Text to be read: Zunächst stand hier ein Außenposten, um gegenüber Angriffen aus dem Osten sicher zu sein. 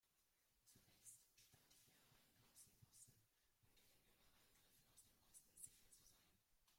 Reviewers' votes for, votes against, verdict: 0, 2, rejected